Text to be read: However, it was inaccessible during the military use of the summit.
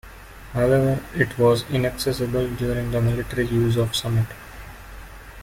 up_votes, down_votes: 0, 2